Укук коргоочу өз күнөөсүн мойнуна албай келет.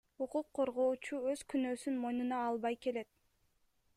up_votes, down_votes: 2, 1